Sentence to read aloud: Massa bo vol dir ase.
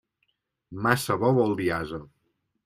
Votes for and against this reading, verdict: 2, 0, accepted